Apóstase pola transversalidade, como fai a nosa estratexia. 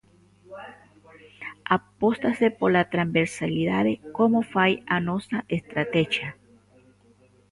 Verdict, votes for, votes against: rejected, 0, 2